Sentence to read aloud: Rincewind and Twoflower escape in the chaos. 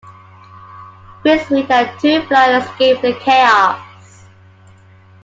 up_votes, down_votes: 0, 2